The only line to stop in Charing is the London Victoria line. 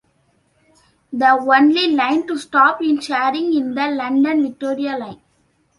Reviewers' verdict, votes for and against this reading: rejected, 0, 2